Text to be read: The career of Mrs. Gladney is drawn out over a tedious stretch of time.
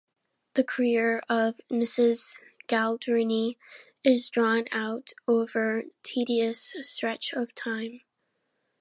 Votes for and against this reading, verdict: 0, 2, rejected